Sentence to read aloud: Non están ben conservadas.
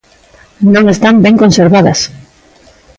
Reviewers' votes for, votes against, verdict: 2, 0, accepted